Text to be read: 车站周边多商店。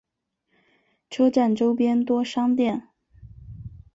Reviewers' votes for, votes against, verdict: 4, 0, accepted